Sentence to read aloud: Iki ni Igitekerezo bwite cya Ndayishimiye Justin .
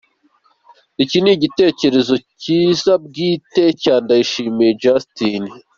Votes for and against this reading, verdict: 1, 2, rejected